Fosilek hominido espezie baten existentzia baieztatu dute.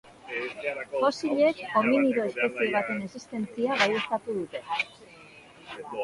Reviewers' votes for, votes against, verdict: 0, 2, rejected